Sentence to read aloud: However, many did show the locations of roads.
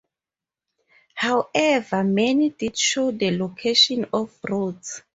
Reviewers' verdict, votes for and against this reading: accepted, 4, 2